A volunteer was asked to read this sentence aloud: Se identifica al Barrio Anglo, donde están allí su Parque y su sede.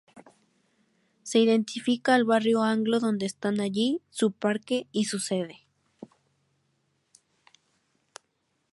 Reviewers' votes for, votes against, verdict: 2, 0, accepted